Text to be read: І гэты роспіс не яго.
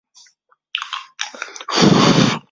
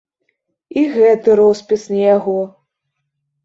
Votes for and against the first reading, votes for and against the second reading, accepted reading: 0, 2, 2, 0, second